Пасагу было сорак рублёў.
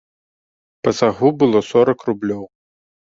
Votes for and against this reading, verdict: 0, 2, rejected